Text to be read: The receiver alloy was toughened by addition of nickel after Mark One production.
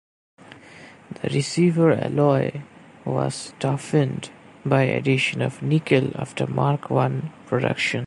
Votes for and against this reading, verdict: 2, 0, accepted